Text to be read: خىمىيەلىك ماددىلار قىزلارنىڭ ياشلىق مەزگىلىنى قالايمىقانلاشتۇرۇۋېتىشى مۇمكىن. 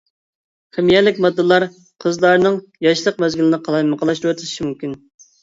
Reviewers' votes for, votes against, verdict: 0, 2, rejected